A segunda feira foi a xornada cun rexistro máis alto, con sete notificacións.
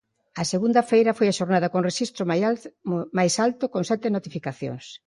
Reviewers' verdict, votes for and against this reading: rejected, 1, 2